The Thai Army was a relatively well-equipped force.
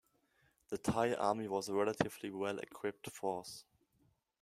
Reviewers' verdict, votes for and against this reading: rejected, 1, 2